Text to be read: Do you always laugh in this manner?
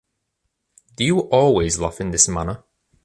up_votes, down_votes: 2, 0